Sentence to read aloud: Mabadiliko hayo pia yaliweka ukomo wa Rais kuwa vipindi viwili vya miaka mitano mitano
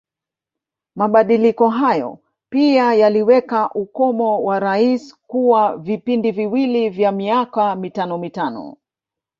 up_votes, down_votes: 1, 2